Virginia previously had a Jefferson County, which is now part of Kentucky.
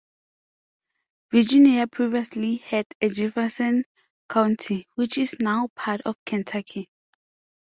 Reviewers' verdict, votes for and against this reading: accepted, 2, 1